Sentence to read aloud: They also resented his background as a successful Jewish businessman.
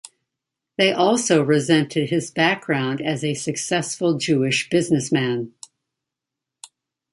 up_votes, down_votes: 2, 0